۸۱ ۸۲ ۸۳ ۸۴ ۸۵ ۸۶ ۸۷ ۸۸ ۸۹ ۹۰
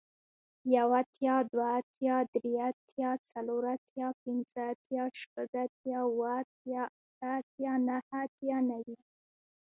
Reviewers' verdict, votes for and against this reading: rejected, 0, 2